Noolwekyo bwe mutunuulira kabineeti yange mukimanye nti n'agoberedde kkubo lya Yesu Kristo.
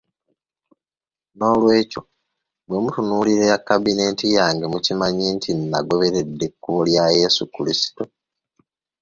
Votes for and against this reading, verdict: 0, 2, rejected